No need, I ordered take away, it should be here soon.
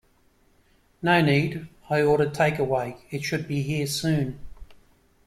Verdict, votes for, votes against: accepted, 2, 0